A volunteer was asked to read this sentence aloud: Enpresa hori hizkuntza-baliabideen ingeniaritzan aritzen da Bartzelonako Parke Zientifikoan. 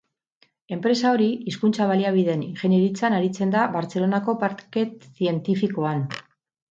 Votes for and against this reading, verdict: 2, 2, rejected